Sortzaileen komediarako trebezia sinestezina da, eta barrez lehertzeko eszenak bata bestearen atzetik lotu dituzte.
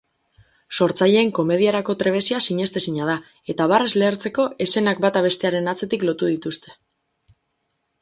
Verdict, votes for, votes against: accepted, 4, 0